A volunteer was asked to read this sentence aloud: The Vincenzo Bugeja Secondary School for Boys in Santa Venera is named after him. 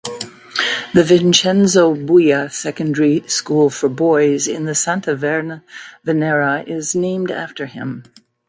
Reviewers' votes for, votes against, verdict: 1, 2, rejected